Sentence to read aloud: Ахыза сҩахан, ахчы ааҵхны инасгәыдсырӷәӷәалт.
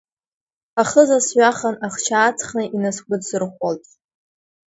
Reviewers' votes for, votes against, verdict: 3, 0, accepted